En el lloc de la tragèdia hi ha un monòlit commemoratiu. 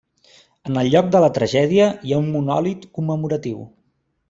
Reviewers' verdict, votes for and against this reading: accepted, 3, 0